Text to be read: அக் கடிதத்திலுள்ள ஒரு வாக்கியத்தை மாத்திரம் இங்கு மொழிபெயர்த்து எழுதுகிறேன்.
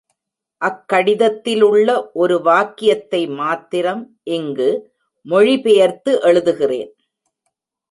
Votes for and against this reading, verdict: 2, 0, accepted